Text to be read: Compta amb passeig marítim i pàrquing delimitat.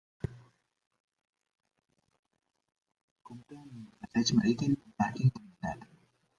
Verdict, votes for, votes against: rejected, 0, 2